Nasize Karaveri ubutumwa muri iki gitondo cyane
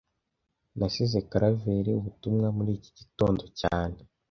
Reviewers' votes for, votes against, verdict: 2, 0, accepted